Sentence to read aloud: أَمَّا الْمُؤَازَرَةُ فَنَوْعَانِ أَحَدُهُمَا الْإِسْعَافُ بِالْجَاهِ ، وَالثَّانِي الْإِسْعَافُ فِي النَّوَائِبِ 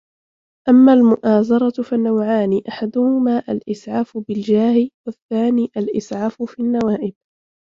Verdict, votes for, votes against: rejected, 1, 2